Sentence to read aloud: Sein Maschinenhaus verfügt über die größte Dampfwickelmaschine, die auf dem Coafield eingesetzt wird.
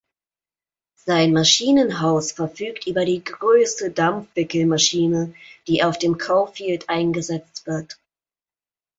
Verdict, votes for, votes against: accepted, 2, 0